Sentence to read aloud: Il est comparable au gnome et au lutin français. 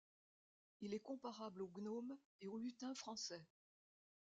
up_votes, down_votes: 1, 2